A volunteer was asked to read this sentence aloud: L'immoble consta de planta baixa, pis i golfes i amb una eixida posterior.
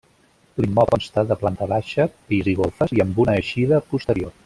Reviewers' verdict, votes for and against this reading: rejected, 0, 3